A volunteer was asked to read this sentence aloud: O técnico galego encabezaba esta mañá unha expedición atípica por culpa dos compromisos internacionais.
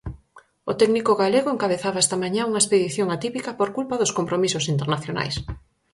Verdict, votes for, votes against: accepted, 4, 0